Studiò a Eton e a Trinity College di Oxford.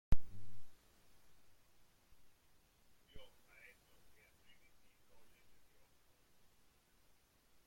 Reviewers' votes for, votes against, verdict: 0, 3, rejected